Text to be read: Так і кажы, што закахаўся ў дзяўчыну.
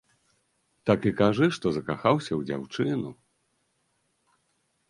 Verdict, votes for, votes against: accepted, 2, 0